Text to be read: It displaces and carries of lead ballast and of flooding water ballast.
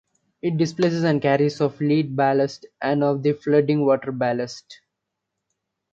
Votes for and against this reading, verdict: 0, 2, rejected